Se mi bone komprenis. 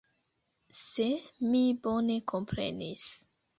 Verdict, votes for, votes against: accepted, 2, 0